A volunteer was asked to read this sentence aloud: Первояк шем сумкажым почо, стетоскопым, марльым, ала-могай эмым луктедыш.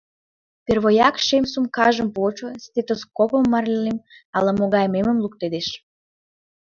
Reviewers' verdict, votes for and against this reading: rejected, 0, 2